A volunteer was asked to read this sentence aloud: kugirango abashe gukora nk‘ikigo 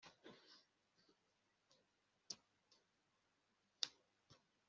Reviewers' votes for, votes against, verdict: 0, 2, rejected